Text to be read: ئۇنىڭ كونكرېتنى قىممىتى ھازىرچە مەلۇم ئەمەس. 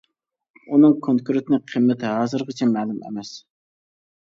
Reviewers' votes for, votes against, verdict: 0, 2, rejected